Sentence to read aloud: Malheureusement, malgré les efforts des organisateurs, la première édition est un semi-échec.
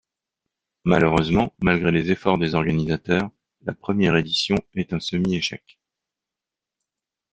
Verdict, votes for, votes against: accepted, 2, 1